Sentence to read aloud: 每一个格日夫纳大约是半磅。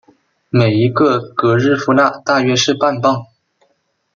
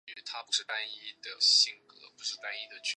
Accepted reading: first